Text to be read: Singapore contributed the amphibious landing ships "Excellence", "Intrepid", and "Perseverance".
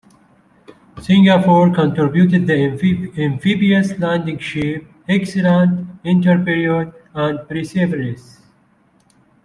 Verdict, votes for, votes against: rejected, 0, 2